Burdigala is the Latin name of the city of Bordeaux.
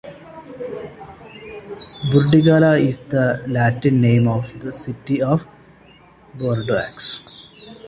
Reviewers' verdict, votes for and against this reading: rejected, 0, 2